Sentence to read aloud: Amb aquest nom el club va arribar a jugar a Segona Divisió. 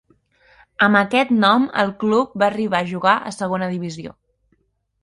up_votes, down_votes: 2, 0